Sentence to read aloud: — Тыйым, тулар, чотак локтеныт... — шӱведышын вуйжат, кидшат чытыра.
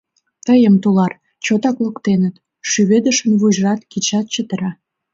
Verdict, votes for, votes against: accepted, 2, 1